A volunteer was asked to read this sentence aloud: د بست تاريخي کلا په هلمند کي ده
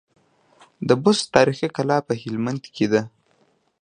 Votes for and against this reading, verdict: 2, 1, accepted